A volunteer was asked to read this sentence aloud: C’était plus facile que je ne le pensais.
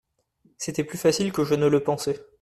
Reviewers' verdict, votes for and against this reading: accepted, 2, 0